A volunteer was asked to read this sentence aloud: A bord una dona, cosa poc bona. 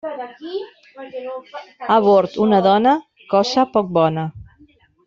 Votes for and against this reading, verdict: 0, 2, rejected